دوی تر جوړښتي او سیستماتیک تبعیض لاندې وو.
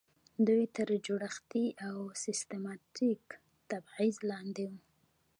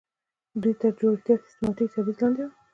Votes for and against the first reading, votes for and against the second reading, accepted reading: 1, 2, 2, 1, second